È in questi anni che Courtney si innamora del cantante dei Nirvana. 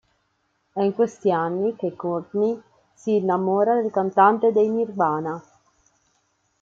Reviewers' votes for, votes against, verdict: 2, 0, accepted